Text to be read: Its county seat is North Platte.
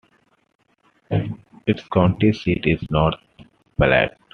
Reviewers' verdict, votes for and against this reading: accepted, 2, 0